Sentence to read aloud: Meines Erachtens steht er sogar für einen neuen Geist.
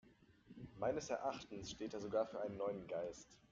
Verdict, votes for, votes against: rejected, 0, 2